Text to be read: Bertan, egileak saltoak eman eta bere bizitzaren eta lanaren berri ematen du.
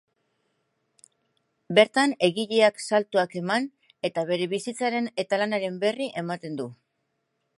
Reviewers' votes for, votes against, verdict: 4, 0, accepted